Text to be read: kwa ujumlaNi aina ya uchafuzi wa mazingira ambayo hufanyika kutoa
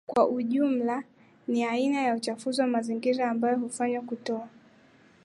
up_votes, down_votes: 1, 2